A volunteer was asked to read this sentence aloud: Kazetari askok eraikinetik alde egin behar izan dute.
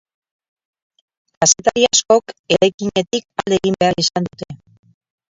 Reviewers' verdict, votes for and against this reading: rejected, 0, 6